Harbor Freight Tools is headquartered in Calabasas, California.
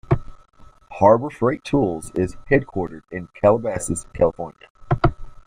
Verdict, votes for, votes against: accepted, 2, 0